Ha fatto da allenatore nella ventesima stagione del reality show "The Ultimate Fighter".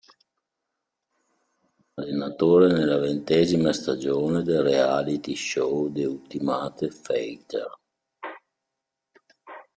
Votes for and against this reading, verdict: 0, 2, rejected